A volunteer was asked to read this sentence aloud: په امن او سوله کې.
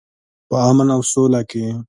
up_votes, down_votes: 2, 0